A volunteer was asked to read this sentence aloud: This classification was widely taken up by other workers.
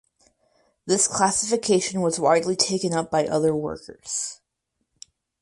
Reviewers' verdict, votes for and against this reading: accepted, 4, 0